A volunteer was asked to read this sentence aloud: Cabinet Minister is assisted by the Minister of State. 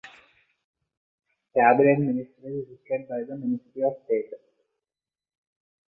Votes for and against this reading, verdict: 0, 2, rejected